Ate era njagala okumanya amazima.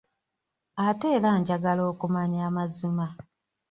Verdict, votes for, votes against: accepted, 3, 0